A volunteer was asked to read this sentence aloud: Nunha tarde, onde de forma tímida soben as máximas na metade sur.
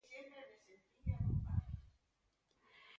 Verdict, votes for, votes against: rejected, 0, 2